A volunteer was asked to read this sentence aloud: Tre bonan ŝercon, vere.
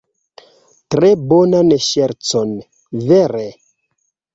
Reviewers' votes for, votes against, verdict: 2, 0, accepted